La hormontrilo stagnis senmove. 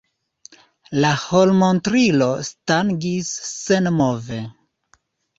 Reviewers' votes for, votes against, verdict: 1, 2, rejected